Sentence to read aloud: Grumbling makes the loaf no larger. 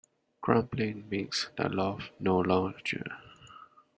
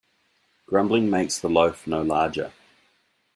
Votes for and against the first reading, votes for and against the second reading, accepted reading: 1, 2, 2, 0, second